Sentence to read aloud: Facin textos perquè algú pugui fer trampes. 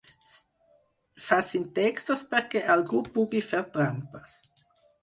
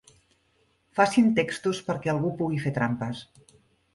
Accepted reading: second